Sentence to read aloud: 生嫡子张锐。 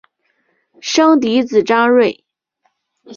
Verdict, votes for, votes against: accepted, 3, 0